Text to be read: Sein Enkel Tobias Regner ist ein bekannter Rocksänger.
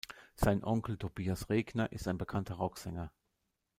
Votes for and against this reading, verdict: 1, 2, rejected